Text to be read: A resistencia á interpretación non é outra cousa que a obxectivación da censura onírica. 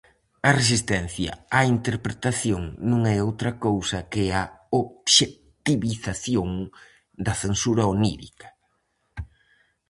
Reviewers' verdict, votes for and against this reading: rejected, 0, 4